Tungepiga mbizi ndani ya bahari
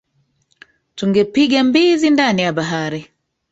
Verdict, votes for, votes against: rejected, 1, 2